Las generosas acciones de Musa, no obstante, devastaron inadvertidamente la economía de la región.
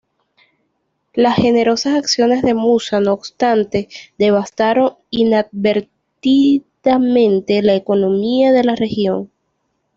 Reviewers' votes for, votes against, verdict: 1, 2, rejected